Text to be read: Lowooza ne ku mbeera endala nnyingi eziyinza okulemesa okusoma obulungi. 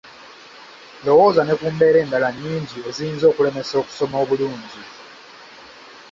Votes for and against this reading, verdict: 2, 1, accepted